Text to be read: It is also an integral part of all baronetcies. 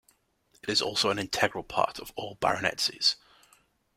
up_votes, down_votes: 2, 0